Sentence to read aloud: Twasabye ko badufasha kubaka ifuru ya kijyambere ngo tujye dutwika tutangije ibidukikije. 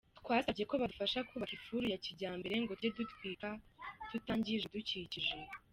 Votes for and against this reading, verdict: 1, 2, rejected